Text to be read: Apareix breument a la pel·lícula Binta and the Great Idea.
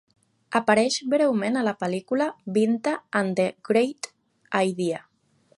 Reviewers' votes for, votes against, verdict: 2, 0, accepted